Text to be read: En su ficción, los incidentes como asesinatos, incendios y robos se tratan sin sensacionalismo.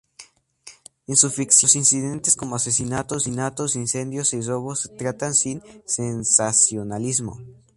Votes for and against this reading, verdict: 0, 2, rejected